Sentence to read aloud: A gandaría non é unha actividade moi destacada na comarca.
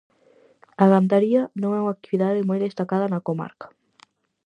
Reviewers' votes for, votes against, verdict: 4, 0, accepted